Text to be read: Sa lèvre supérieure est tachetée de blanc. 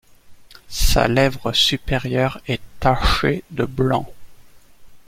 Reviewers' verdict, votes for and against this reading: rejected, 0, 2